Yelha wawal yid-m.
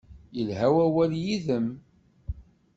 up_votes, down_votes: 2, 0